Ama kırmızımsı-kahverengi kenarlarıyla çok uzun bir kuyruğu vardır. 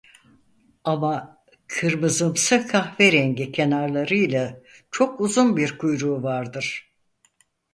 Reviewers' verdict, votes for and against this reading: accepted, 4, 0